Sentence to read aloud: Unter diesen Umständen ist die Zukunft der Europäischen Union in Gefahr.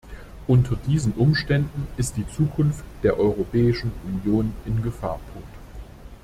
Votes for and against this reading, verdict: 1, 2, rejected